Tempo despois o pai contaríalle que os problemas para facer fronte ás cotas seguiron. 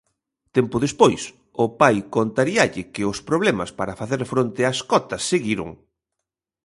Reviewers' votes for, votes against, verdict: 1, 2, rejected